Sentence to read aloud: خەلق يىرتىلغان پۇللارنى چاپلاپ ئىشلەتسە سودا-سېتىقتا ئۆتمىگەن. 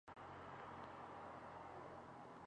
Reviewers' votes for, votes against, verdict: 0, 4, rejected